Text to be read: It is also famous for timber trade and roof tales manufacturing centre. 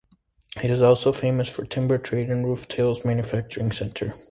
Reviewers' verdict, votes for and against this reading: accepted, 2, 0